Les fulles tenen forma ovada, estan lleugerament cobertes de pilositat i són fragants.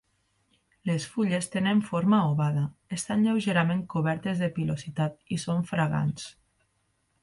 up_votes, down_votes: 2, 0